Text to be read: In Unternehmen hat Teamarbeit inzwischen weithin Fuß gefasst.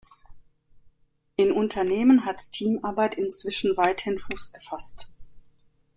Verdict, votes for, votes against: accepted, 2, 0